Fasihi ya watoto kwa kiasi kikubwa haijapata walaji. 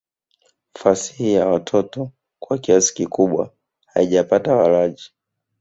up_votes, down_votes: 1, 2